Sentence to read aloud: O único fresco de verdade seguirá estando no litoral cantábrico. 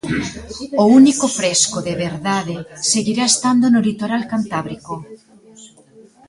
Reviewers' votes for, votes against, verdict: 2, 1, accepted